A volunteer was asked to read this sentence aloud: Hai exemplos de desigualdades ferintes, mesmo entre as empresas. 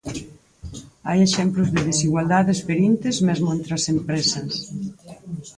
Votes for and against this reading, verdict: 2, 4, rejected